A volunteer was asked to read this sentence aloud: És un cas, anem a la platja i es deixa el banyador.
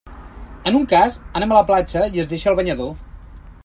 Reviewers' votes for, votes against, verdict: 0, 2, rejected